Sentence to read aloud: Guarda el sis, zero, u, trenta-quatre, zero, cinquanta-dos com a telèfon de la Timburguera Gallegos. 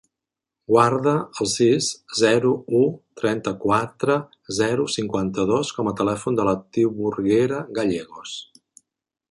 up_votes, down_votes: 3, 0